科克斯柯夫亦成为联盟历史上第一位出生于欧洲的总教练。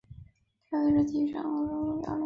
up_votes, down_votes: 0, 2